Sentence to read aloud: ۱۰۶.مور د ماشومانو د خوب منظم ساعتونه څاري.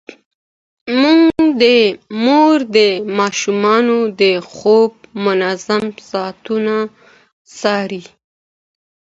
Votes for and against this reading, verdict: 0, 2, rejected